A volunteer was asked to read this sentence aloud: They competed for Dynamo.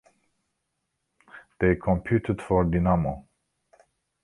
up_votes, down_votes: 2, 1